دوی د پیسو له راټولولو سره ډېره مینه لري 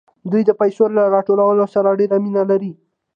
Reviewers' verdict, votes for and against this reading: accepted, 2, 0